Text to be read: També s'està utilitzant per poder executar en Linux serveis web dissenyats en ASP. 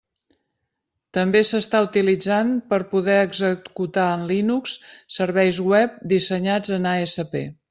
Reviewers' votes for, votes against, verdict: 0, 2, rejected